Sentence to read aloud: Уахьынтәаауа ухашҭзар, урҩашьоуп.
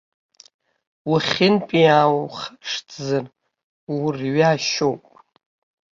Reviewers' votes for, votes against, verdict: 0, 2, rejected